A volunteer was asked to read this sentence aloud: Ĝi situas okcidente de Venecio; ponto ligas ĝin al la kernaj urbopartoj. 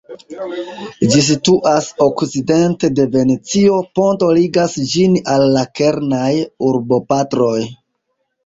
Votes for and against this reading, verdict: 2, 1, accepted